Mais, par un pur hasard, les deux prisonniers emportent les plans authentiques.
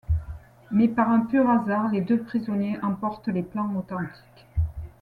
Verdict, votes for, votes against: accepted, 2, 0